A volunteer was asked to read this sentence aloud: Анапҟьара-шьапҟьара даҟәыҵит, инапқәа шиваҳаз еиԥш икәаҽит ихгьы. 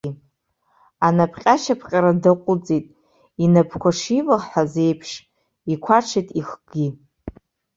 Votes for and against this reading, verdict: 0, 2, rejected